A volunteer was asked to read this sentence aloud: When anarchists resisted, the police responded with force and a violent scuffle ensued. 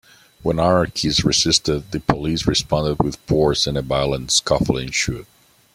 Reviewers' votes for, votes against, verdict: 0, 2, rejected